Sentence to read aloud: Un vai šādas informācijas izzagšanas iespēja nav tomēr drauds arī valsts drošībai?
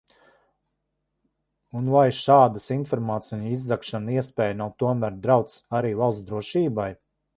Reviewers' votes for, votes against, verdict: 0, 2, rejected